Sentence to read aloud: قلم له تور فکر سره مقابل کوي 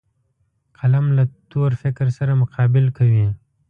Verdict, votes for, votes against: accepted, 2, 0